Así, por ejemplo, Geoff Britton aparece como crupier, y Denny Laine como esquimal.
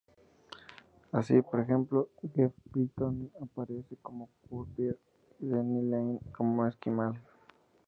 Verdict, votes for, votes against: accepted, 2, 0